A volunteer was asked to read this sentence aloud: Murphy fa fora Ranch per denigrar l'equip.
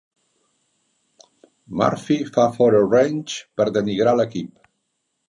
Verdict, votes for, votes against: accepted, 2, 0